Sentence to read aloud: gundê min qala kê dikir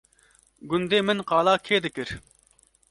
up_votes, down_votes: 2, 0